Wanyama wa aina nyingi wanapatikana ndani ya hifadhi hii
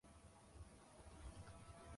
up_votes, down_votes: 1, 2